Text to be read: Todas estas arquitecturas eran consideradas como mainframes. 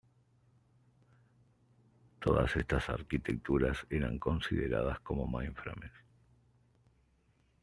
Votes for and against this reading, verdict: 2, 0, accepted